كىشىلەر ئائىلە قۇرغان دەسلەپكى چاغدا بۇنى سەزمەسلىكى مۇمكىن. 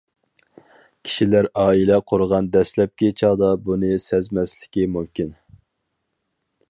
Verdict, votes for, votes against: accepted, 4, 0